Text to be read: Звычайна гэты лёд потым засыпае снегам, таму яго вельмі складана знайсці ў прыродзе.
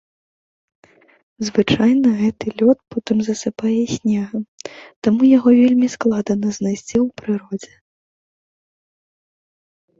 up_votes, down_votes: 1, 2